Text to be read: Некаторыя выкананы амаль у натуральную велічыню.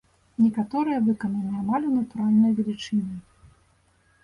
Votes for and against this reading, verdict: 2, 0, accepted